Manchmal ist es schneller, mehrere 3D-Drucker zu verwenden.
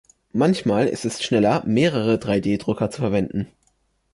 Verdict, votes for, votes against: rejected, 0, 2